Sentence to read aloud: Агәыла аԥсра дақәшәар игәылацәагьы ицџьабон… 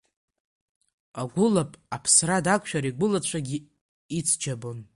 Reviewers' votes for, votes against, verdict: 0, 2, rejected